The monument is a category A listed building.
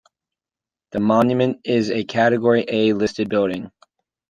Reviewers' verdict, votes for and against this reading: accepted, 2, 0